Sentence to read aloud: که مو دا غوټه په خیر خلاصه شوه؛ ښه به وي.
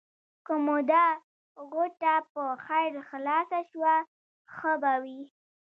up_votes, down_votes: 1, 2